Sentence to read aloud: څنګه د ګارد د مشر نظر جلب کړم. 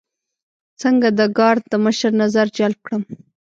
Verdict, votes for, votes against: rejected, 1, 2